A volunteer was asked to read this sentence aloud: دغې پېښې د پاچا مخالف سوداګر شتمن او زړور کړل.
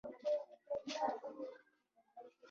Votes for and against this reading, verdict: 0, 2, rejected